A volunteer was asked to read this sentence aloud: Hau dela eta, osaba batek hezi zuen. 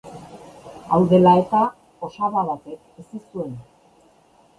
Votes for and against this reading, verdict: 0, 2, rejected